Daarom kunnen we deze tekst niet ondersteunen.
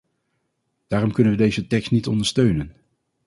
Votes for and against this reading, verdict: 2, 0, accepted